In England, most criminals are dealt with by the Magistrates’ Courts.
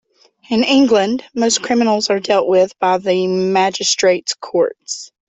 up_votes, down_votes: 2, 0